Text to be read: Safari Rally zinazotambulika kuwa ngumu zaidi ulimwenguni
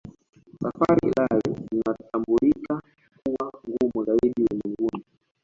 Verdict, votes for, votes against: rejected, 1, 2